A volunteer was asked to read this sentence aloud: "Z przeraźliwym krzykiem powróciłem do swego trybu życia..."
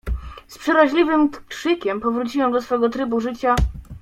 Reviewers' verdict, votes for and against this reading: rejected, 0, 2